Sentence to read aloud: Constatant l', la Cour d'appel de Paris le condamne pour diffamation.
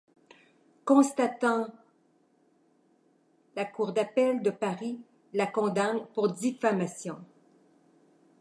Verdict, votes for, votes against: rejected, 0, 2